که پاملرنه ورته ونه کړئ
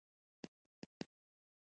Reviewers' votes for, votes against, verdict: 1, 2, rejected